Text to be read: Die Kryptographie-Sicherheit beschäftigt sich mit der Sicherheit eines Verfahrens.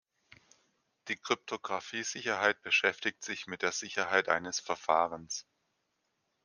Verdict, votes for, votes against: accepted, 2, 0